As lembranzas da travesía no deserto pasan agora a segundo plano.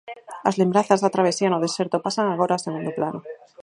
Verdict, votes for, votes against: rejected, 0, 4